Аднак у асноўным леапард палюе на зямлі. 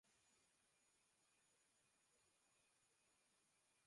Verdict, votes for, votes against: rejected, 0, 2